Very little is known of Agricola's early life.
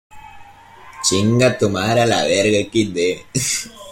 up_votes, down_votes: 0, 2